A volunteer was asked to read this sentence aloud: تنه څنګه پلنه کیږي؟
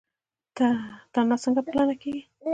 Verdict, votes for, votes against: accepted, 2, 0